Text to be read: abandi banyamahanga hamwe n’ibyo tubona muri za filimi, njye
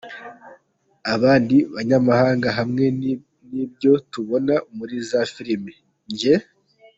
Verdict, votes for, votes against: accepted, 2, 1